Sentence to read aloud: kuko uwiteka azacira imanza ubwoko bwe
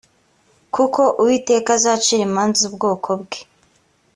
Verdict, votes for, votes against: accepted, 3, 0